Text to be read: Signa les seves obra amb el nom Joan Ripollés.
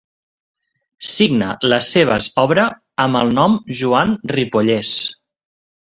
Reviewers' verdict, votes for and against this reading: accepted, 3, 0